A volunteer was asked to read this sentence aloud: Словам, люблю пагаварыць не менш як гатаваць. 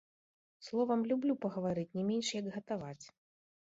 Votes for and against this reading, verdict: 2, 0, accepted